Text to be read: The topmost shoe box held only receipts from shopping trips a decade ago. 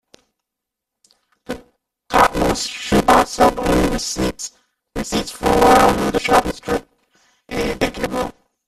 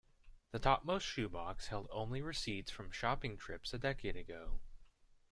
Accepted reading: second